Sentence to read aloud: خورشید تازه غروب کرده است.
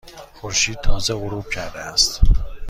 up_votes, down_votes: 2, 0